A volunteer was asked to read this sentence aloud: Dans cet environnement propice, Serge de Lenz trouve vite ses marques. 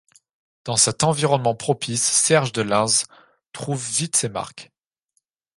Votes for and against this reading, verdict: 1, 2, rejected